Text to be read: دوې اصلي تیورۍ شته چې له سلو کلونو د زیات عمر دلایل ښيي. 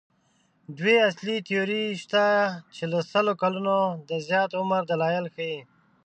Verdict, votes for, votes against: rejected, 1, 2